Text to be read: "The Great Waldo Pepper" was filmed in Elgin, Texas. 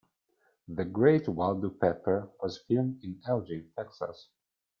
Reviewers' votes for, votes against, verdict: 2, 0, accepted